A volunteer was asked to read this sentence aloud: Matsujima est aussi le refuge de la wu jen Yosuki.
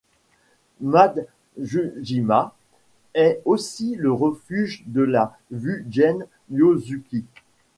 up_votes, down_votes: 2, 0